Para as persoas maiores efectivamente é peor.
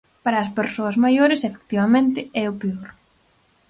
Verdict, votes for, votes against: rejected, 0, 4